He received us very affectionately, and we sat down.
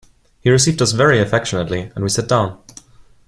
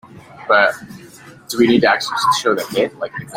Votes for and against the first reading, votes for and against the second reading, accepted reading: 2, 0, 0, 2, first